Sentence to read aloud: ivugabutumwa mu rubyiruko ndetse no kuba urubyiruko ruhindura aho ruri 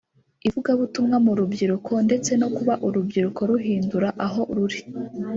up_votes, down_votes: 3, 0